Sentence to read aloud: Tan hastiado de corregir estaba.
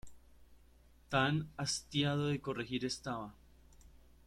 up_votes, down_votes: 2, 0